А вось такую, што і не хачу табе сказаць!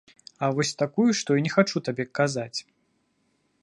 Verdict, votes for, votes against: rejected, 1, 2